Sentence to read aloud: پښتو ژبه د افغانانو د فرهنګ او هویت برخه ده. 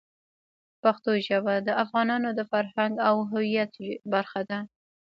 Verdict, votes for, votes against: rejected, 1, 2